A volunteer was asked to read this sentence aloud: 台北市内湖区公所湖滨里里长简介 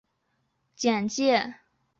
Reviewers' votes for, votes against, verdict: 0, 2, rejected